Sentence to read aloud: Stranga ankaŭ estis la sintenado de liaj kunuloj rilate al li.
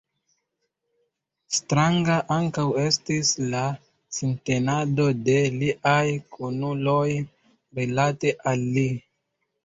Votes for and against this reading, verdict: 2, 0, accepted